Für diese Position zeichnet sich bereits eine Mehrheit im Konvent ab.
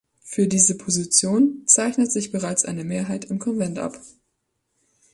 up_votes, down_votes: 3, 0